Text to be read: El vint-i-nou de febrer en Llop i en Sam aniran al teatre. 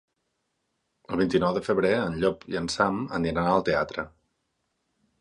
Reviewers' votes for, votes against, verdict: 4, 2, accepted